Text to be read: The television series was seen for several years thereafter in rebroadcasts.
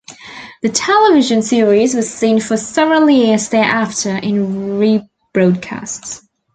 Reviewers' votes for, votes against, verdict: 2, 0, accepted